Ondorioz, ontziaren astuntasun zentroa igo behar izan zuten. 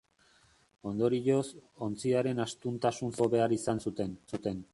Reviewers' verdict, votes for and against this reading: rejected, 0, 2